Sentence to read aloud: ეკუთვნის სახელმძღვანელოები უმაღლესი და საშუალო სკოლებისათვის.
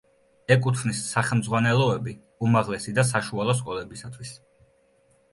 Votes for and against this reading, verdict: 2, 0, accepted